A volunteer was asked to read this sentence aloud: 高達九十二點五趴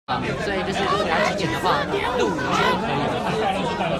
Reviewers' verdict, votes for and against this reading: rejected, 1, 2